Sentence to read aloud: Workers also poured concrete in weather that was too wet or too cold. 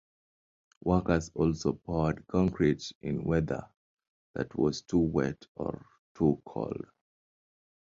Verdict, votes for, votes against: accepted, 2, 0